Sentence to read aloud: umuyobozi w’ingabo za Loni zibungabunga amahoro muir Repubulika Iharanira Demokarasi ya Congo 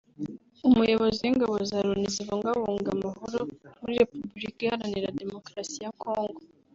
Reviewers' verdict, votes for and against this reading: accepted, 3, 1